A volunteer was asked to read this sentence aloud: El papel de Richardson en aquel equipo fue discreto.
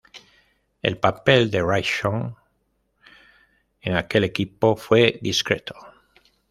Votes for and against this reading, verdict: 1, 2, rejected